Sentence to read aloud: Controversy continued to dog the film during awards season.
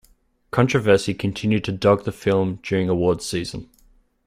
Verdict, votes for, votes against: accepted, 2, 0